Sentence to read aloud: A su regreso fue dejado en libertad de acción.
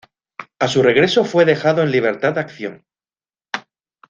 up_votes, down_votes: 2, 0